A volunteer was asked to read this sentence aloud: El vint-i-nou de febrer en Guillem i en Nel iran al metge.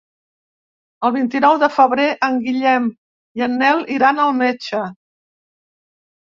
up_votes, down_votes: 3, 0